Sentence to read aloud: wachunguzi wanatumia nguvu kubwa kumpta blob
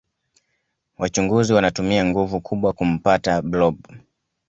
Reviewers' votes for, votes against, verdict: 2, 0, accepted